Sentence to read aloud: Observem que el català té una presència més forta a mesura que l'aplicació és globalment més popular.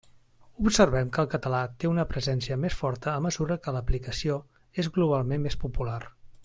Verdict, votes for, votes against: accepted, 3, 0